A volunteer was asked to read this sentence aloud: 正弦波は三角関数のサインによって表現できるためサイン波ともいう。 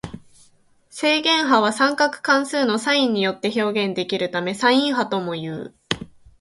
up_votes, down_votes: 2, 0